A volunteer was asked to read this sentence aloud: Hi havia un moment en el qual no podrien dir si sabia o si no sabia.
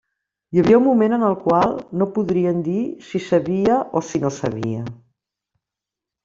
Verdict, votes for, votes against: accepted, 3, 0